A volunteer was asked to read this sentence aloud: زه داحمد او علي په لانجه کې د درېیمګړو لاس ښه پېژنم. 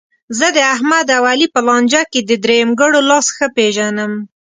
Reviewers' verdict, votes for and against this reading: accepted, 2, 0